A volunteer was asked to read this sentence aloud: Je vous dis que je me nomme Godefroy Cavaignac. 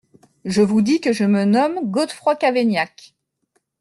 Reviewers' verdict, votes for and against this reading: accepted, 2, 0